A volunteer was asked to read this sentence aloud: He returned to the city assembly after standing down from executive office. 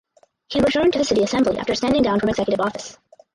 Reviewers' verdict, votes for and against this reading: rejected, 4, 6